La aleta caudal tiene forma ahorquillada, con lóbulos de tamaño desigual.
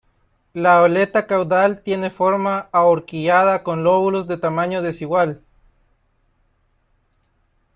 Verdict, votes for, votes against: accepted, 2, 1